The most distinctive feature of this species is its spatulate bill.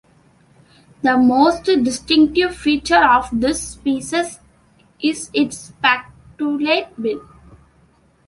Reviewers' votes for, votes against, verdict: 2, 1, accepted